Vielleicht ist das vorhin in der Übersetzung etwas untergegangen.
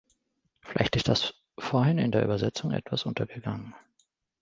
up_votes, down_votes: 2, 0